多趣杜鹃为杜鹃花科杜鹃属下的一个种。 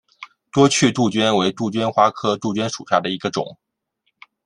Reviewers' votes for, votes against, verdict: 2, 0, accepted